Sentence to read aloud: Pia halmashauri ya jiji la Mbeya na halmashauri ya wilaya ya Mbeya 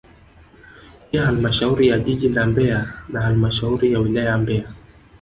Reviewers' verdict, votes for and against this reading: accepted, 2, 1